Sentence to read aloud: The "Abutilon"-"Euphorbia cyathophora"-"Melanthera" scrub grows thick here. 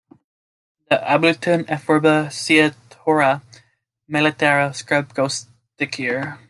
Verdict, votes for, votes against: rejected, 0, 2